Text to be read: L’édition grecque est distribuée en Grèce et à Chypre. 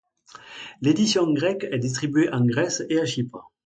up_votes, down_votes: 2, 0